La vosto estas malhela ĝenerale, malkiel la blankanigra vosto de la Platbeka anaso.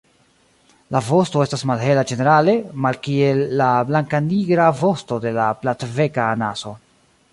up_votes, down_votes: 2, 1